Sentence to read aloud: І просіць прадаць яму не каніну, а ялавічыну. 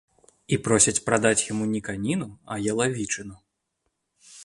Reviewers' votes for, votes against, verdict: 2, 1, accepted